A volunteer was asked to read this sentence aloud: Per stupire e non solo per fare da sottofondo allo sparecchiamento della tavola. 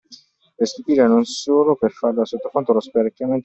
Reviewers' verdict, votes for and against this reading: rejected, 0, 2